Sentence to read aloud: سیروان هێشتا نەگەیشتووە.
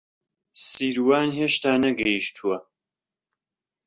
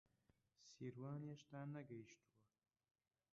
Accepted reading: first